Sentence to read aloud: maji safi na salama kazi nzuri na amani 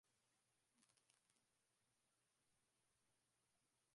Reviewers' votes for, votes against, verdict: 0, 12, rejected